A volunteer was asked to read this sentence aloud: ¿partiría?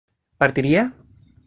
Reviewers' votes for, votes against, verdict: 2, 0, accepted